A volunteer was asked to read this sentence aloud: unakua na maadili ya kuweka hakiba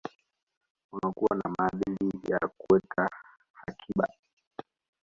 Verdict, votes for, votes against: rejected, 1, 2